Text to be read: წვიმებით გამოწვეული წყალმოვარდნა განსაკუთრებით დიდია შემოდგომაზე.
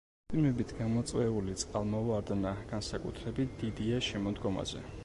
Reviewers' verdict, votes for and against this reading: accepted, 2, 0